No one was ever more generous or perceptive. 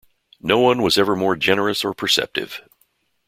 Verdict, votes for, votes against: accepted, 2, 0